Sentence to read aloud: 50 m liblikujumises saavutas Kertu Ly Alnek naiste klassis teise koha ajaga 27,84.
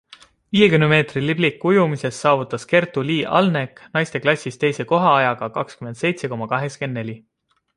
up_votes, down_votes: 0, 2